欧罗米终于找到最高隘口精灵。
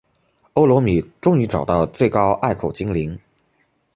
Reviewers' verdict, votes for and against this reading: accepted, 2, 0